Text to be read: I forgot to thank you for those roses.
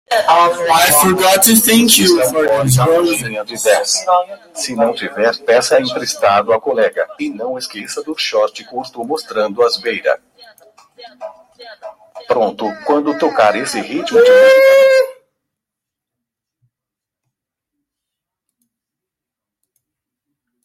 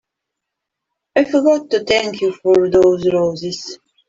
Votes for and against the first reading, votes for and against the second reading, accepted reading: 0, 2, 2, 1, second